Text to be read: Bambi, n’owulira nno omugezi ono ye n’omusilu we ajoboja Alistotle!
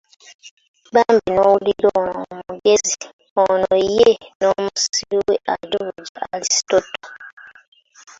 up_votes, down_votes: 0, 2